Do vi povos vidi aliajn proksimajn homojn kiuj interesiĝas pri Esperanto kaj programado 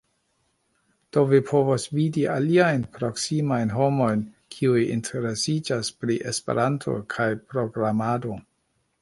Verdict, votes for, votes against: accepted, 2, 0